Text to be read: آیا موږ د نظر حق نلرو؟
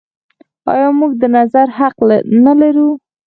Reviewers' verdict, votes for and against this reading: rejected, 2, 4